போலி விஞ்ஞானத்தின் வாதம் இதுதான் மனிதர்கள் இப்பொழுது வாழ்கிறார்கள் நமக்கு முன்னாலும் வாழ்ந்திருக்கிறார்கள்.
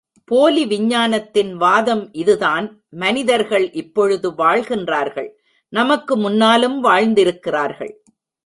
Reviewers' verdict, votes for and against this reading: rejected, 0, 2